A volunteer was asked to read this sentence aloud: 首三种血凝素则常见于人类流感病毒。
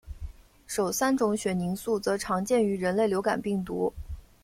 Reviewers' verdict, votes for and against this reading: accepted, 2, 1